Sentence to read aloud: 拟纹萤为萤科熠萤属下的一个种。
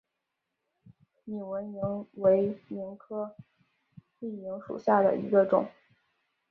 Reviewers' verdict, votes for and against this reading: rejected, 0, 2